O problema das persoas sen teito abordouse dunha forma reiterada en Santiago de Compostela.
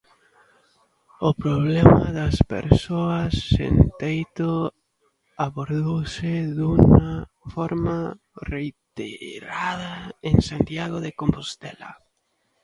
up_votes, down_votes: 0, 2